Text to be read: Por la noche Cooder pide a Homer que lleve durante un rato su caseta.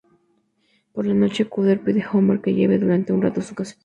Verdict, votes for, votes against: rejected, 0, 2